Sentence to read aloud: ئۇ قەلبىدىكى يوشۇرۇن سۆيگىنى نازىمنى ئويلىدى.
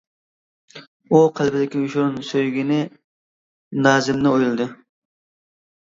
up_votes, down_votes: 0, 2